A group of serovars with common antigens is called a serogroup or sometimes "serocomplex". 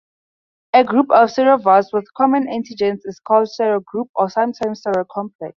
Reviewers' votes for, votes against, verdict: 2, 0, accepted